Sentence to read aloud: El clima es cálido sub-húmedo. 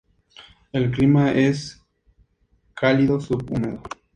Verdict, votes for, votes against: accepted, 2, 0